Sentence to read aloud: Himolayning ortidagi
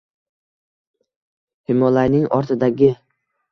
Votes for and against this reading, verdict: 2, 0, accepted